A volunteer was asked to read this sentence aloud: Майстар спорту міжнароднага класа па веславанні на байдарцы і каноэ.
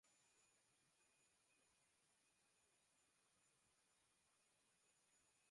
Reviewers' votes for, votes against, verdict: 0, 2, rejected